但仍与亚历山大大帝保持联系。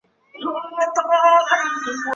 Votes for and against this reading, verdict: 0, 2, rejected